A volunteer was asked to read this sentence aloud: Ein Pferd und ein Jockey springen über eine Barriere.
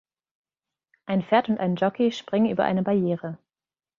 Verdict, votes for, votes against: rejected, 1, 2